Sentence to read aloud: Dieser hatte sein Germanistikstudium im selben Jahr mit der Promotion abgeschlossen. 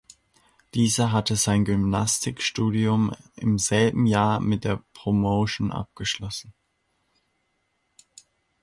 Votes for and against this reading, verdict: 0, 3, rejected